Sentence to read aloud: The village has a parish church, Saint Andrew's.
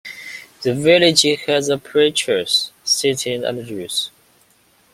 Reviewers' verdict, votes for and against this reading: rejected, 0, 2